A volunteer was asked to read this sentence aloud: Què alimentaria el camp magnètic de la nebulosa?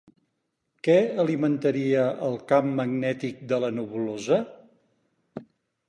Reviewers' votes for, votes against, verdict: 4, 0, accepted